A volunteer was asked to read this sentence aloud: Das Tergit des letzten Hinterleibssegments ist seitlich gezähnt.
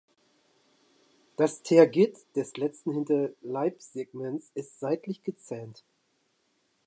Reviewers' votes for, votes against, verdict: 1, 2, rejected